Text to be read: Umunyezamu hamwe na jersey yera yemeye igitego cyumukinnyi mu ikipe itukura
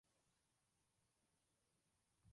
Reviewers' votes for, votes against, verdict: 0, 2, rejected